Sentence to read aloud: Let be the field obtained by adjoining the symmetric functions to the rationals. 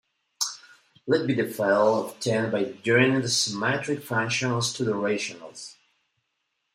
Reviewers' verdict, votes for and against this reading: rejected, 1, 2